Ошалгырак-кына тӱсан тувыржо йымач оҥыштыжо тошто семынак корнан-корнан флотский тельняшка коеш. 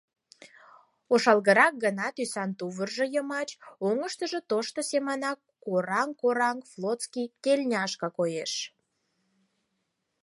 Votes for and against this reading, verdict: 2, 4, rejected